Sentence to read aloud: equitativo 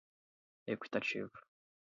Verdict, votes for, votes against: accepted, 4, 0